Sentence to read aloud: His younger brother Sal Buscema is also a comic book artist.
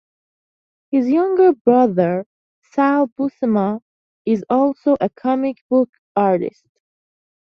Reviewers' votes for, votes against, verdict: 2, 0, accepted